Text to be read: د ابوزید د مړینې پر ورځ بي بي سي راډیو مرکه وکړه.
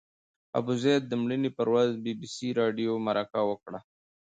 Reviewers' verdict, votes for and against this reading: accepted, 2, 0